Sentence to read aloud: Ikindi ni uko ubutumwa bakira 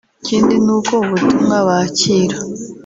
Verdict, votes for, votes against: accepted, 2, 0